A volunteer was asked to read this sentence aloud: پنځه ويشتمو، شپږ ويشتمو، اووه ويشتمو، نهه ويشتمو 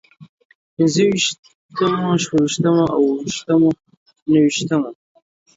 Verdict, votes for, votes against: accepted, 2, 1